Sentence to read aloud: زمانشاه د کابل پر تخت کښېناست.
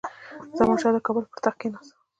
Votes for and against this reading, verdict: 2, 0, accepted